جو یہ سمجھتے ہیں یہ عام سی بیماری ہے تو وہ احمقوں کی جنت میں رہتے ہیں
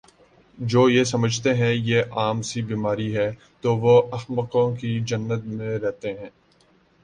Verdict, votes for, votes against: accepted, 2, 0